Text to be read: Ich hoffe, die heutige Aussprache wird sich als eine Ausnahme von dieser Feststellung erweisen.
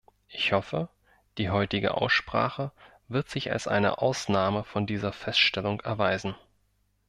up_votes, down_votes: 2, 0